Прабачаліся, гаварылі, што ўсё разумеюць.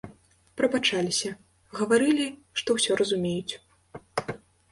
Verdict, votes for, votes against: accepted, 2, 0